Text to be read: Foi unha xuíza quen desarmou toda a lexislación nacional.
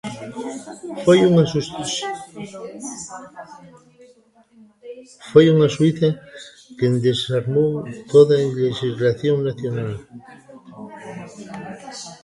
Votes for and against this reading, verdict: 0, 2, rejected